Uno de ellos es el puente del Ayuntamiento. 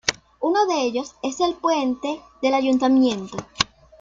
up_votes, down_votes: 2, 0